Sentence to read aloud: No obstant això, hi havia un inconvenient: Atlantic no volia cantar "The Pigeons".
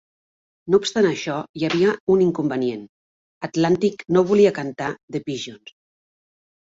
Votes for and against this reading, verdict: 2, 0, accepted